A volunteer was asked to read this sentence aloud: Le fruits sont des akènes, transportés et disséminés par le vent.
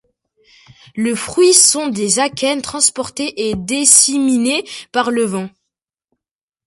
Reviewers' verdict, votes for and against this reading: accepted, 2, 0